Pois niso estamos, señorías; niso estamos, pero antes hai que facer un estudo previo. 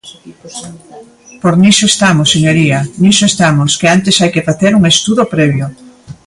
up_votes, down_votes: 1, 2